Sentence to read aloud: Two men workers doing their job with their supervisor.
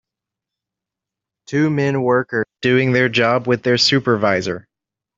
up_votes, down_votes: 0, 2